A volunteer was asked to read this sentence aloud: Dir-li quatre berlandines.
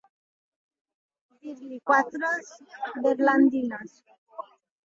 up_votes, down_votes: 0, 2